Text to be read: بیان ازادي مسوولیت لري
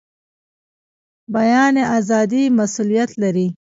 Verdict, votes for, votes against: rejected, 1, 2